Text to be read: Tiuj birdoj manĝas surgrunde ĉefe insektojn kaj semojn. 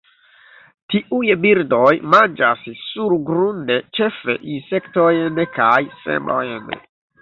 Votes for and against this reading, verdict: 1, 2, rejected